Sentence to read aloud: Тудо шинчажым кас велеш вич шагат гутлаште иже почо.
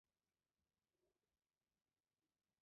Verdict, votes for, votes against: rejected, 0, 2